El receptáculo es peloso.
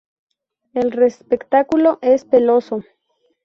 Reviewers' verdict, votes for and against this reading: rejected, 0, 2